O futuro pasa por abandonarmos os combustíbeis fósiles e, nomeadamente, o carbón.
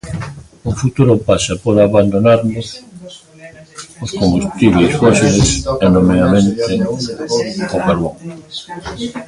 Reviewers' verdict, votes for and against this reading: rejected, 0, 2